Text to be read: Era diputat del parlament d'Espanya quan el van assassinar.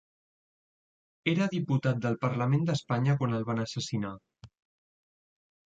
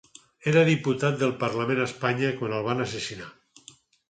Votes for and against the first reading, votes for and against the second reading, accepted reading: 0, 2, 4, 2, second